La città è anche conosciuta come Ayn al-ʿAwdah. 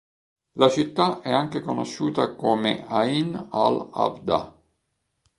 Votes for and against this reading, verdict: 2, 0, accepted